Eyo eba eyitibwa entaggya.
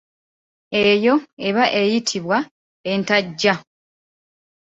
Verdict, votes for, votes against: accepted, 2, 0